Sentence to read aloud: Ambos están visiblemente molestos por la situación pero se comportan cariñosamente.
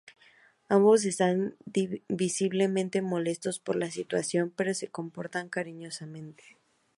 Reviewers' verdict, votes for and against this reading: accepted, 2, 0